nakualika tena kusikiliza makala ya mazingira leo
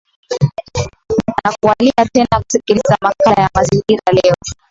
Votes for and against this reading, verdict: 0, 2, rejected